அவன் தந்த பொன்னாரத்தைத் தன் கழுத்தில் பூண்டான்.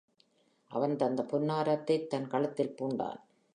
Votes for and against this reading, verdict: 2, 0, accepted